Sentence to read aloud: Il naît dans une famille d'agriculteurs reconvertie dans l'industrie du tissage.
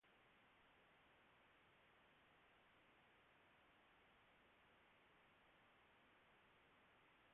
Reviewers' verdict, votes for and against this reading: rejected, 0, 2